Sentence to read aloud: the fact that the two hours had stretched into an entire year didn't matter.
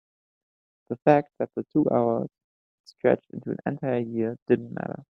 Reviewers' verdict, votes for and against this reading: rejected, 2, 3